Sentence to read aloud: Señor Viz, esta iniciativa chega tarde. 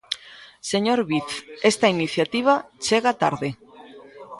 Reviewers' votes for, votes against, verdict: 0, 2, rejected